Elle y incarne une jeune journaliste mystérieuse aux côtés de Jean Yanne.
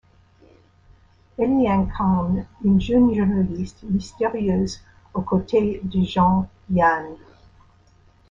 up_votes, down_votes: 0, 2